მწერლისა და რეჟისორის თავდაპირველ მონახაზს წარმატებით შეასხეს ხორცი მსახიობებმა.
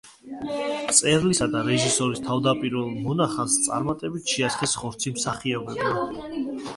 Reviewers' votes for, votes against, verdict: 1, 2, rejected